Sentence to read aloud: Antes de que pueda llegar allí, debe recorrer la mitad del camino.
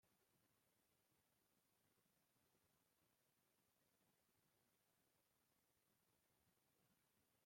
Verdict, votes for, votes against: rejected, 0, 2